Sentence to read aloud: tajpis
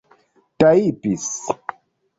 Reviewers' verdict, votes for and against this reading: rejected, 0, 2